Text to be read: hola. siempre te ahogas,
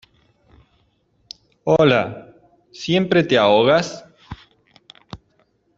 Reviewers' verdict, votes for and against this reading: rejected, 0, 2